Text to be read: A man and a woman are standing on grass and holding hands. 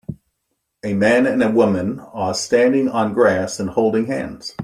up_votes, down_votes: 2, 0